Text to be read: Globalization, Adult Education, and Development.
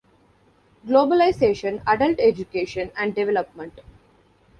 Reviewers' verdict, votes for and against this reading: accepted, 2, 0